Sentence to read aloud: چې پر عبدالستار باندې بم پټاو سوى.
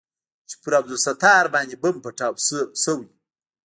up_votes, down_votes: 0, 2